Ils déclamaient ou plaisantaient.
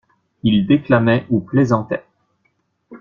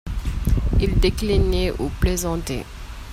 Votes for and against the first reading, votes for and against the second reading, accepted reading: 2, 0, 1, 2, first